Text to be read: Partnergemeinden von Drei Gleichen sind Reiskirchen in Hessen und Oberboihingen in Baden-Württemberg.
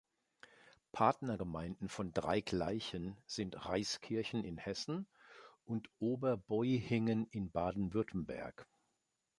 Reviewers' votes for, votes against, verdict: 2, 1, accepted